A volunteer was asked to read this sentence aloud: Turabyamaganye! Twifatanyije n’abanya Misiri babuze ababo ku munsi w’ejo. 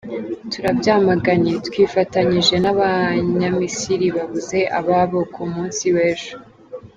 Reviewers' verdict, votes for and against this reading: accepted, 2, 0